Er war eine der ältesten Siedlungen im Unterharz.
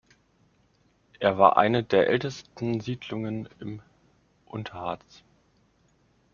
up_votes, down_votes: 2, 0